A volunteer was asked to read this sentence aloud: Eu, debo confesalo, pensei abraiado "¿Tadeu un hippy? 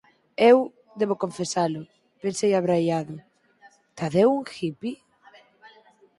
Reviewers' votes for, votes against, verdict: 4, 0, accepted